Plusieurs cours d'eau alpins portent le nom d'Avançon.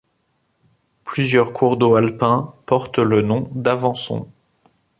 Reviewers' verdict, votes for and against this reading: accepted, 2, 0